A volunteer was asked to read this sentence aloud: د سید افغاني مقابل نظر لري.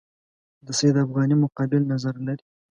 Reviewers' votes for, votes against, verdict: 2, 0, accepted